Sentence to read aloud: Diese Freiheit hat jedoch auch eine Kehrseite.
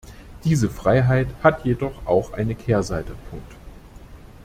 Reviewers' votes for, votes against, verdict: 0, 2, rejected